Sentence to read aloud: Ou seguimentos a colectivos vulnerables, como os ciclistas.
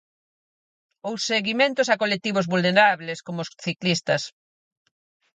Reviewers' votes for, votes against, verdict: 4, 0, accepted